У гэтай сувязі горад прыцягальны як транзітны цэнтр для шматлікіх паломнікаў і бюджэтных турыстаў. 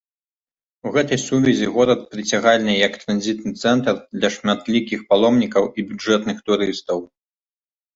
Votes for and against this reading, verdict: 2, 0, accepted